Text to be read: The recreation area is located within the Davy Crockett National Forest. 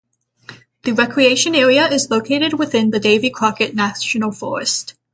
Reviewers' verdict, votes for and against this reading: rejected, 3, 3